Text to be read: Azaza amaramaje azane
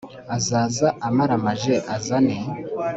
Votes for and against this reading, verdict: 2, 0, accepted